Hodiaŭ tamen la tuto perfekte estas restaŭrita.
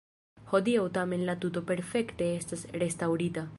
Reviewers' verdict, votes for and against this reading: rejected, 1, 2